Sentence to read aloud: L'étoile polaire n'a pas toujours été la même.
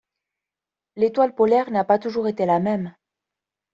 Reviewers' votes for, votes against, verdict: 2, 0, accepted